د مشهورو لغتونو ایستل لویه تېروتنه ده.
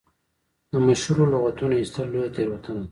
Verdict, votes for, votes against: rejected, 0, 2